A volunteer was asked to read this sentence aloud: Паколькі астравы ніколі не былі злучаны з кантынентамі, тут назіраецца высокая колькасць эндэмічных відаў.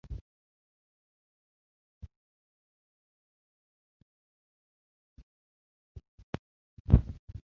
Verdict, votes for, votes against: rejected, 0, 2